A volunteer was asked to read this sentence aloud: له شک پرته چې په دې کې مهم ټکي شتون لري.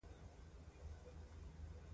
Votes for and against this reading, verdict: 1, 2, rejected